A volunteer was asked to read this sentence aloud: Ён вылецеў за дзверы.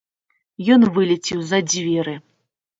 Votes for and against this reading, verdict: 2, 0, accepted